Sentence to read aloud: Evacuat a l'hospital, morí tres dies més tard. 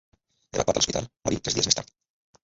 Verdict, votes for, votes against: rejected, 1, 2